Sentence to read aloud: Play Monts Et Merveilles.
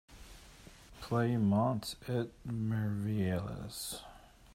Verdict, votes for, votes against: accepted, 2, 1